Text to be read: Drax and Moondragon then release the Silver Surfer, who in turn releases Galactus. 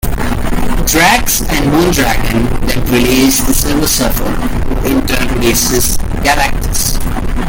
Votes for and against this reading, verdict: 2, 1, accepted